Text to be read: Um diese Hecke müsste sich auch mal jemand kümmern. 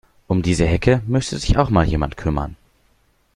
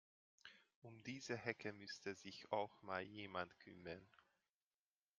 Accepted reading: first